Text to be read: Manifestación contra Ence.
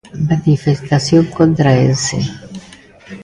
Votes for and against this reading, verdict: 2, 0, accepted